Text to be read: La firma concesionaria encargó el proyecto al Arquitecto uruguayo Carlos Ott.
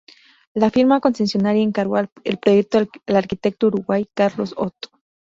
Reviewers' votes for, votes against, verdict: 0, 4, rejected